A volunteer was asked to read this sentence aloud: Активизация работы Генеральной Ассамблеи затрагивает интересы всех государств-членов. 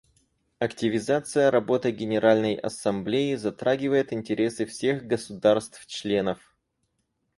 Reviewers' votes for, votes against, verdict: 4, 0, accepted